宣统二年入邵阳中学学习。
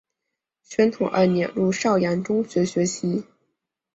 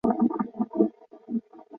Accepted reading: first